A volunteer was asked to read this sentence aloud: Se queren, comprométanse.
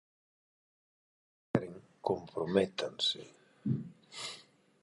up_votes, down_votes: 0, 4